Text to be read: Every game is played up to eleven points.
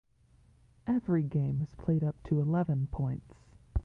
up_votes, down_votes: 1, 2